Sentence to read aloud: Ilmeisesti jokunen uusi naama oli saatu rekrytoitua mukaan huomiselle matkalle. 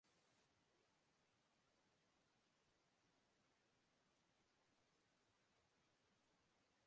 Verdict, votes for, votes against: rejected, 0, 2